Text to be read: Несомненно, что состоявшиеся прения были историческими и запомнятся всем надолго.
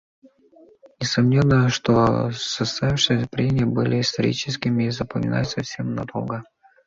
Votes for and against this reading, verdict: 1, 2, rejected